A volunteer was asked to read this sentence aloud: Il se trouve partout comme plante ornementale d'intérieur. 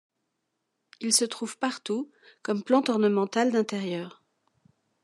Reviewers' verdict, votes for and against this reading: accepted, 2, 0